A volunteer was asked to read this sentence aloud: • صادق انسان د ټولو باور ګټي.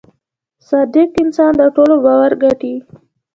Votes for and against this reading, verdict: 2, 0, accepted